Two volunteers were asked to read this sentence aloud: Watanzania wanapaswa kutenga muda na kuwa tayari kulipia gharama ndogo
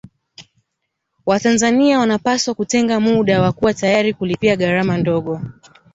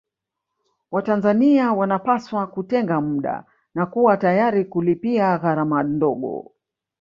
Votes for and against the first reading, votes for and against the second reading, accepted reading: 4, 1, 1, 2, first